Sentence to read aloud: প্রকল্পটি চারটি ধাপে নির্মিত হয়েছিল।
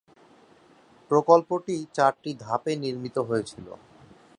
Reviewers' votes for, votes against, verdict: 2, 0, accepted